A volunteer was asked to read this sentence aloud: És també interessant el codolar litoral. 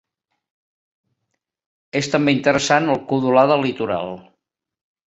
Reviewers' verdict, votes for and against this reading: rejected, 1, 2